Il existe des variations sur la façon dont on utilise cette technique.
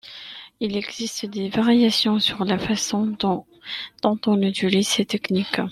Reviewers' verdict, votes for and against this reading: rejected, 1, 2